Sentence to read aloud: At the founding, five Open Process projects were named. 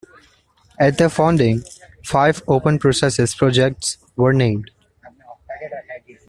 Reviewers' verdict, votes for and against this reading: rejected, 1, 2